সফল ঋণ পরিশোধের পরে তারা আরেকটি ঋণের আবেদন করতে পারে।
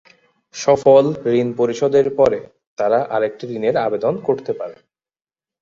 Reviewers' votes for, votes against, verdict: 3, 0, accepted